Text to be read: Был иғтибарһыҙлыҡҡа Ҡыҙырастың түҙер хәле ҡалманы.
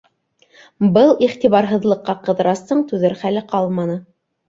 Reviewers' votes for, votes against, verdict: 2, 0, accepted